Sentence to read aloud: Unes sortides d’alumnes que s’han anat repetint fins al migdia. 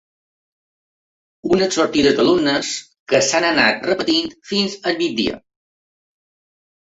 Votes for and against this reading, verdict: 3, 0, accepted